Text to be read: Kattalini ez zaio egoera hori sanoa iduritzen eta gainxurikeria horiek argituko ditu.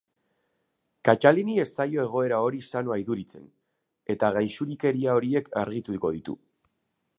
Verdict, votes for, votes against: rejected, 0, 2